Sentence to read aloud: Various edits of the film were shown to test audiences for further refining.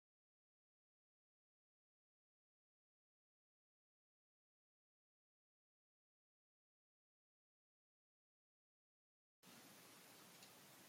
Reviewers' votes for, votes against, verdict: 0, 2, rejected